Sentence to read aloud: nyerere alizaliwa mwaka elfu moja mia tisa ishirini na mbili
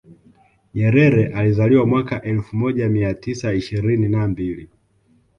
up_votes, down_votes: 2, 0